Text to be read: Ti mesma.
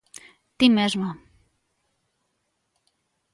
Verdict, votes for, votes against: accepted, 2, 1